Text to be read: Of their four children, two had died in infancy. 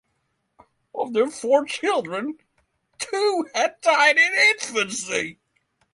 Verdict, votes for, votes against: accepted, 3, 0